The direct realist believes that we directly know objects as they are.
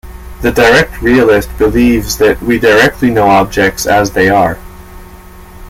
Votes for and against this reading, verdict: 2, 0, accepted